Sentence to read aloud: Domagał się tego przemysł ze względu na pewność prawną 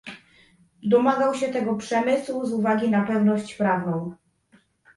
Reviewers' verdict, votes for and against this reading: rejected, 0, 2